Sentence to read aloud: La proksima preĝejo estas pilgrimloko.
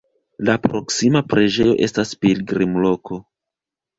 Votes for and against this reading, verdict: 0, 2, rejected